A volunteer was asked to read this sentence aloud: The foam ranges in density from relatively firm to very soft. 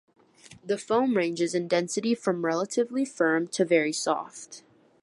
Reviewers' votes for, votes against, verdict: 3, 0, accepted